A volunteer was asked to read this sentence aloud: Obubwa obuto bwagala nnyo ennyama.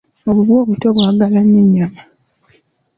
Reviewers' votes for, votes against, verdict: 2, 0, accepted